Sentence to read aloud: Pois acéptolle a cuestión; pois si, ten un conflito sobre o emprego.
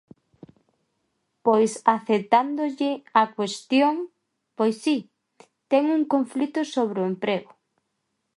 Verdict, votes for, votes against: rejected, 0, 2